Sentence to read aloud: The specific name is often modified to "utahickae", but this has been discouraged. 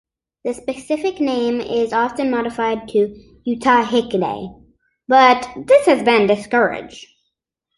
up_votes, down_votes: 1, 2